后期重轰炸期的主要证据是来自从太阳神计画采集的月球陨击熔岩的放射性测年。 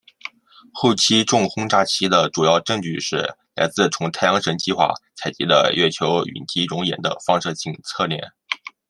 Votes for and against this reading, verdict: 2, 0, accepted